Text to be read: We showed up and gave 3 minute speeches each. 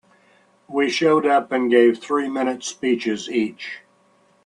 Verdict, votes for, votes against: rejected, 0, 2